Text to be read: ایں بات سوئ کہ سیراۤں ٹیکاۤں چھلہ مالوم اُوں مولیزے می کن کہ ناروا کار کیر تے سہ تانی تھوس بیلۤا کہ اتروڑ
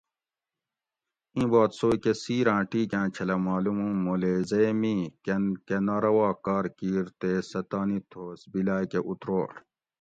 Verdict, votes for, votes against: accepted, 2, 0